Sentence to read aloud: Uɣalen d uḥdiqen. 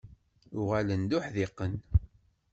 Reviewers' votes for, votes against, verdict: 2, 0, accepted